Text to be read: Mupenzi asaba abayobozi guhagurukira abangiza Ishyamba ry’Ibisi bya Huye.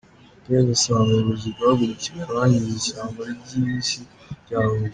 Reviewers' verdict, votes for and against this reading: rejected, 0, 2